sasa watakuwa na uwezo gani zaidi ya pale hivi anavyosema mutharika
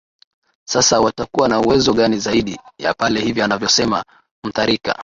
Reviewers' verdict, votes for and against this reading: accepted, 4, 0